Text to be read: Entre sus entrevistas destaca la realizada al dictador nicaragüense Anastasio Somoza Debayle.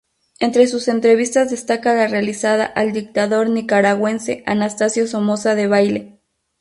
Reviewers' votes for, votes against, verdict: 2, 0, accepted